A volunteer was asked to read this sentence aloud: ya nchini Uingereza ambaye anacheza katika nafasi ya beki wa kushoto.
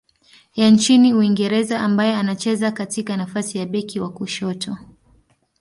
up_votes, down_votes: 2, 0